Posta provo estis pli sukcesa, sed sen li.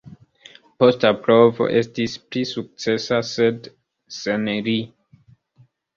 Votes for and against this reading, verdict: 2, 0, accepted